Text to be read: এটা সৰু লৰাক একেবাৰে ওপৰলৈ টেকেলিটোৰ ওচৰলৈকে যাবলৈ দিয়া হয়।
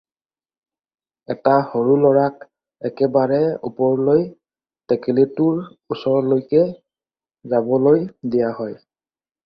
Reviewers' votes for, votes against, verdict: 2, 0, accepted